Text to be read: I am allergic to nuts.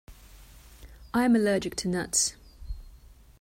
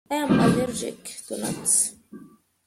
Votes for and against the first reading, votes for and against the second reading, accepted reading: 2, 1, 0, 2, first